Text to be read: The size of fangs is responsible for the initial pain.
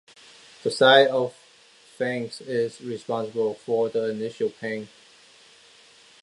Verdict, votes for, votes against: rejected, 1, 2